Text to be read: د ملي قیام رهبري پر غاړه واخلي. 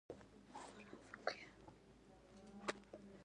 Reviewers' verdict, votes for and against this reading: rejected, 1, 2